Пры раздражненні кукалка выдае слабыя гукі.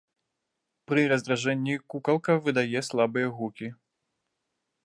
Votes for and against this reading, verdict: 1, 2, rejected